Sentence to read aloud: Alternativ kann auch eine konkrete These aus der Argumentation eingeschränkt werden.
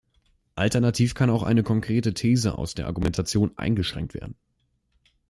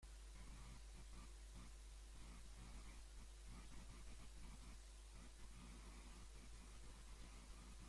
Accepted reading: first